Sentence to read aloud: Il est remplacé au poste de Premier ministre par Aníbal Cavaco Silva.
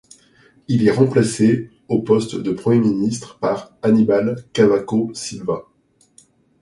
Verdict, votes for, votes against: accepted, 2, 0